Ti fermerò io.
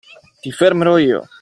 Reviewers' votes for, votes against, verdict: 2, 0, accepted